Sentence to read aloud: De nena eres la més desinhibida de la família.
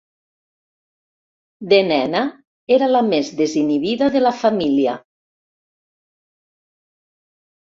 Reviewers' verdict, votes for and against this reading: rejected, 1, 2